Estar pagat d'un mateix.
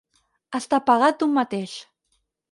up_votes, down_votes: 4, 2